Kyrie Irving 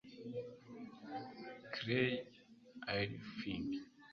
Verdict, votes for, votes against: rejected, 1, 2